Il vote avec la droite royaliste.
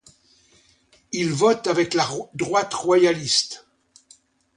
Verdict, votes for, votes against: rejected, 1, 2